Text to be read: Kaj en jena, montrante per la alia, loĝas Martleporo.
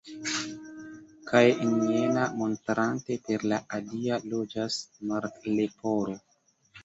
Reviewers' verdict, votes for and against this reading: rejected, 0, 2